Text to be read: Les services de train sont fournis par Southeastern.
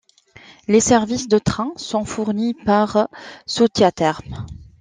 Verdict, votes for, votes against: rejected, 0, 2